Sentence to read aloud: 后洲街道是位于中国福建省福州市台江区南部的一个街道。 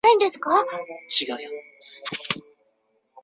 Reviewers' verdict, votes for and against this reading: rejected, 0, 2